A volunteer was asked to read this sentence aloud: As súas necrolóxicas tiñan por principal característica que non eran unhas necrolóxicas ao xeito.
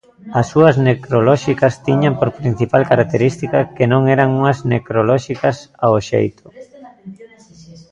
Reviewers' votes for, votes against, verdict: 1, 2, rejected